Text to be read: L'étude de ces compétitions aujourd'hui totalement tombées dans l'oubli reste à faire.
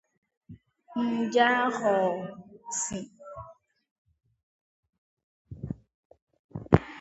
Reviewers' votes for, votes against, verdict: 0, 2, rejected